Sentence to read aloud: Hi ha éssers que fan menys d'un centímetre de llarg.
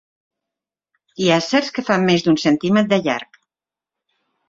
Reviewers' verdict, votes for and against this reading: rejected, 3, 4